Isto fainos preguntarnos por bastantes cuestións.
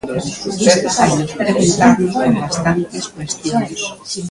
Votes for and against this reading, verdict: 0, 2, rejected